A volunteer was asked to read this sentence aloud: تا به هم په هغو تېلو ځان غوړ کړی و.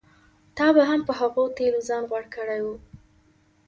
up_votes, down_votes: 3, 0